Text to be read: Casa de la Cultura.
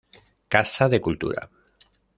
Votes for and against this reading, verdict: 0, 2, rejected